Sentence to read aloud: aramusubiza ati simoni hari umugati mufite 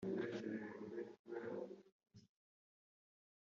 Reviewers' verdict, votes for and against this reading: rejected, 1, 2